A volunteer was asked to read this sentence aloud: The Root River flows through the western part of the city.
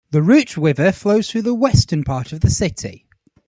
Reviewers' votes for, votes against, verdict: 0, 2, rejected